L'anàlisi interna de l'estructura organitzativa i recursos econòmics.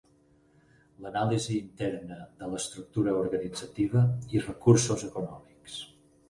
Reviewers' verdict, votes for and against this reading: accepted, 6, 0